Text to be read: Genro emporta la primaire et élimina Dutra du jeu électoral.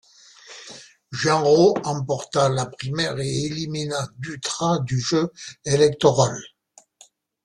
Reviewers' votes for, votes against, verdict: 2, 0, accepted